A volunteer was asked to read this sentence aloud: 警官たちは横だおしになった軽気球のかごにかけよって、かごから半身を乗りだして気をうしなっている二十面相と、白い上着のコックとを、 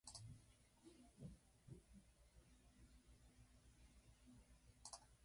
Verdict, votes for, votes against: rejected, 0, 2